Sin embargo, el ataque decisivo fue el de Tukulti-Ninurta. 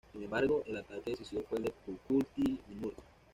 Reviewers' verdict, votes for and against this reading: rejected, 1, 2